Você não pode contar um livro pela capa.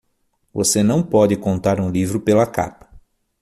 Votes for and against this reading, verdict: 6, 0, accepted